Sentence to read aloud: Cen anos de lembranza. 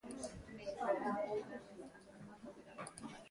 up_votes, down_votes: 0, 2